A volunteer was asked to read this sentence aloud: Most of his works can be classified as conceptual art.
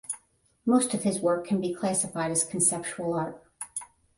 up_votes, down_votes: 5, 10